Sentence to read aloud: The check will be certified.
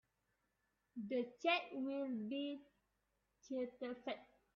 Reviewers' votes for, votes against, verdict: 1, 2, rejected